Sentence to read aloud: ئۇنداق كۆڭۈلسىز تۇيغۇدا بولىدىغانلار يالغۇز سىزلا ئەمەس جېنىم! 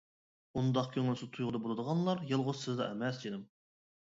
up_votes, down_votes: 2, 0